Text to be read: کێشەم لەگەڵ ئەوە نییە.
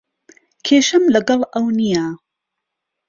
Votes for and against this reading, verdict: 1, 2, rejected